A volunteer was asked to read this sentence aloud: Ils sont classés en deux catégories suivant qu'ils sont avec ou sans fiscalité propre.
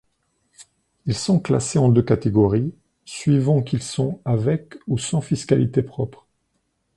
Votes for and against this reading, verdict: 2, 0, accepted